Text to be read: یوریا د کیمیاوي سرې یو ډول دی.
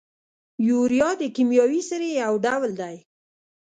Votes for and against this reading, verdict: 2, 0, accepted